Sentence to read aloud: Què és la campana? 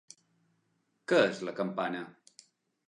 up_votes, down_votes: 3, 1